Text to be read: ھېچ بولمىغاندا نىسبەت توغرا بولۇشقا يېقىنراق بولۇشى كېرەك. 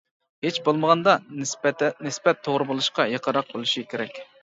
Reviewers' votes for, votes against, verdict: 0, 2, rejected